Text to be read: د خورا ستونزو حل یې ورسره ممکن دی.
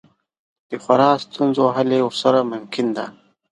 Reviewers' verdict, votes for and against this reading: accepted, 2, 0